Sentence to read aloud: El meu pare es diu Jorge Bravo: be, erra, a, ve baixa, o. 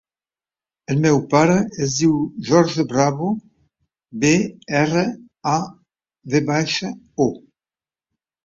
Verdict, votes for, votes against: rejected, 1, 3